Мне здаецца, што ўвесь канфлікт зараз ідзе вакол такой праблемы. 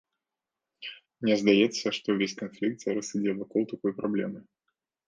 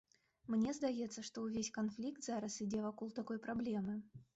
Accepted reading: first